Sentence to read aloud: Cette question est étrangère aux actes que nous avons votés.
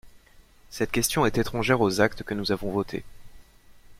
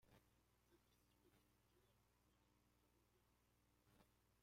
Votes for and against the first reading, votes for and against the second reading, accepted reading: 2, 0, 0, 2, first